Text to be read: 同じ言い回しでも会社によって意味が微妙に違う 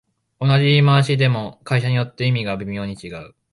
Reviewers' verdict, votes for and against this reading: accepted, 2, 0